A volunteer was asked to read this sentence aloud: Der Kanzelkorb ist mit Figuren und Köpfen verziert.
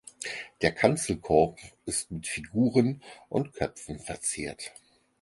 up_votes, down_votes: 4, 0